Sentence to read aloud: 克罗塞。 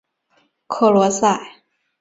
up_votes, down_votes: 4, 0